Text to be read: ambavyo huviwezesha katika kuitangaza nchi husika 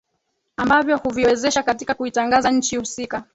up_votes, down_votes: 2, 1